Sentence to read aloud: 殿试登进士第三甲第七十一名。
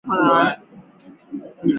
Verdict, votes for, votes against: rejected, 0, 3